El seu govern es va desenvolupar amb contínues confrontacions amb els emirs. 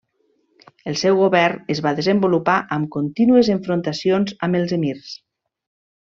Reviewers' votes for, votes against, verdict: 1, 2, rejected